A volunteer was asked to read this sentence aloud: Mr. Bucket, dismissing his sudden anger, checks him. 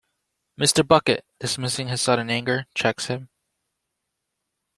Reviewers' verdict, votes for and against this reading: rejected, 0, 2